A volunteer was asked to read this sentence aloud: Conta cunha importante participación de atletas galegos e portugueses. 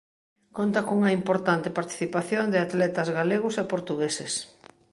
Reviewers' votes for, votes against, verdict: 2, 0, accepted